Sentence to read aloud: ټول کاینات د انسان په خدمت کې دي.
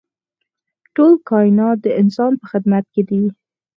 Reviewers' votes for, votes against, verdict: 4, 2, accepted